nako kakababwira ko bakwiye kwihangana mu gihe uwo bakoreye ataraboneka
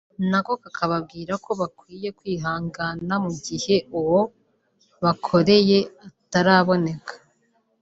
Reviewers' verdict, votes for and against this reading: accepted, 2, 0